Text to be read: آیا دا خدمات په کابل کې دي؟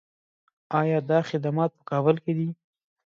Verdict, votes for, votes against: accepted, 2, 1